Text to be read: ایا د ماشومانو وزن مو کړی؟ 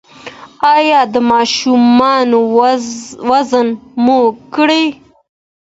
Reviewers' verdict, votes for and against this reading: accepted, 2, 0